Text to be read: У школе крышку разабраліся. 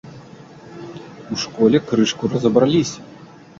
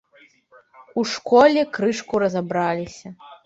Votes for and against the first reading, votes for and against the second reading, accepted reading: 1, 2, 2, 0, second